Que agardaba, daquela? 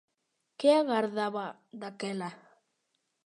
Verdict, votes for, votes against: accepted, 2, 0